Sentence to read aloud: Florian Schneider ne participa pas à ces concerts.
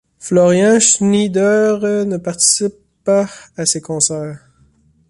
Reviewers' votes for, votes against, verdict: 1, 2, rejected